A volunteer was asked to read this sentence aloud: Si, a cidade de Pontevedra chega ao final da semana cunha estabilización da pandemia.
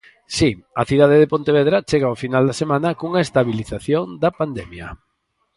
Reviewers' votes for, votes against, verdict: 4, 0, accepted